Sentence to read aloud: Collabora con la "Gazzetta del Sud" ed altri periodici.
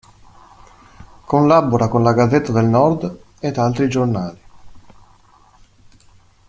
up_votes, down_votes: 0, 2